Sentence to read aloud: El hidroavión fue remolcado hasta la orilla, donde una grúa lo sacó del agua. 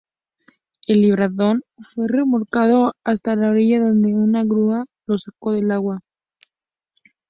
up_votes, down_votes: 0, 2